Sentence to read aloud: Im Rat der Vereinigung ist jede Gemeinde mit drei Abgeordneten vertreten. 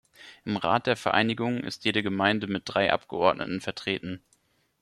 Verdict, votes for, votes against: accepted, 2, 0